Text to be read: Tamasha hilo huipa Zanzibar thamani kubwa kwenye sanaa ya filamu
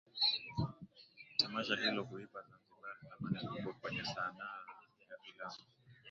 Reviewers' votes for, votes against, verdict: 0, 2, rejected